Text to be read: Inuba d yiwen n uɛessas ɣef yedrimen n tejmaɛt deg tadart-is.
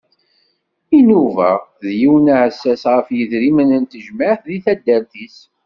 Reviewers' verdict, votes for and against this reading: accepted, 2, 0